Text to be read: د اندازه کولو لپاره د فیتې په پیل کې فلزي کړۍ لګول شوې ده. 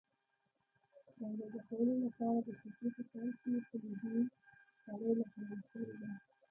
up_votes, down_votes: 1, 2